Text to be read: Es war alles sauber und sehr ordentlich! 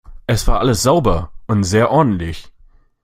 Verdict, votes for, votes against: accepted, 2, 0